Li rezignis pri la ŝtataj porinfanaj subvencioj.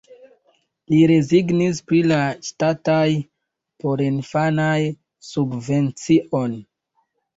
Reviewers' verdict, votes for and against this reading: rejected, 0, 2